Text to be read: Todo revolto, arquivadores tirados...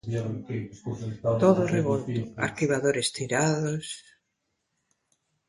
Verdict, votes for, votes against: rejected, 1, 2